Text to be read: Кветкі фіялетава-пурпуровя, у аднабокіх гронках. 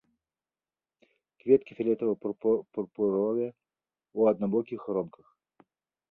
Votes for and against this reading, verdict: 0, 2, rejected